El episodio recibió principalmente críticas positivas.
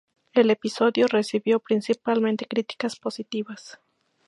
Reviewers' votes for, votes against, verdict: 2, 0, accepted